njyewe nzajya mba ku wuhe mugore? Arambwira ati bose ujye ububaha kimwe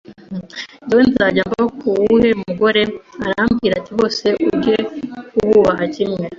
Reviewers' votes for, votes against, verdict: 2, 0, accepted